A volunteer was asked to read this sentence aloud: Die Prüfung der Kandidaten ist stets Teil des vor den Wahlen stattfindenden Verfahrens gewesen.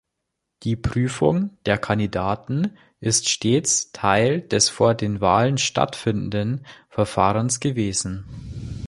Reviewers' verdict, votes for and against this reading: accepted, 2, 0